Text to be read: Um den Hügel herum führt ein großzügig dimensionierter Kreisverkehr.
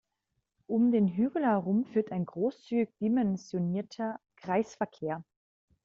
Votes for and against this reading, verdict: 0, 2, rejected